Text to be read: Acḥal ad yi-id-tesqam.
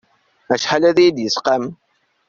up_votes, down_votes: 0, 2